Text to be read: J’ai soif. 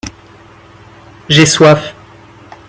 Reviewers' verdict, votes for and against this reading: accepted, 2, 0